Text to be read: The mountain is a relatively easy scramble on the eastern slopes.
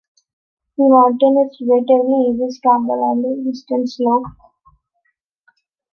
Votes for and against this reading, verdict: 0, 2, rejected